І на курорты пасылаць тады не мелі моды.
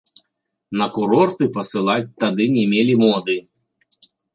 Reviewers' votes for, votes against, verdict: 1, 2, rejected